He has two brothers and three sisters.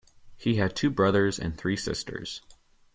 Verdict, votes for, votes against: rejected, 1, 2